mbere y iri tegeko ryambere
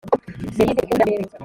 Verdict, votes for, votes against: rejected, 1, 2